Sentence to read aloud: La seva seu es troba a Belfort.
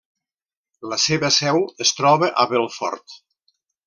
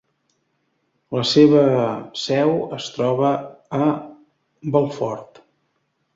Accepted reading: first